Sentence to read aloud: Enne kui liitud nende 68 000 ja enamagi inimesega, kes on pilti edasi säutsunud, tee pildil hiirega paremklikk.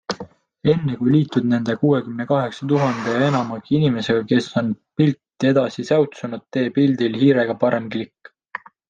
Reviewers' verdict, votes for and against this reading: rejected, 0, 2